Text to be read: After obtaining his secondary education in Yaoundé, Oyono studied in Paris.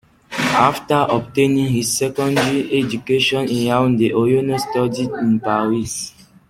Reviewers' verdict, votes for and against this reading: rejected, 1, 2